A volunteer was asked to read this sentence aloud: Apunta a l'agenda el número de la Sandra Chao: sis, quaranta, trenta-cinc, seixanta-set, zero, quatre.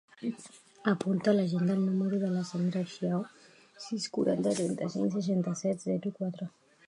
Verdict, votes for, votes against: rejected, 0, 2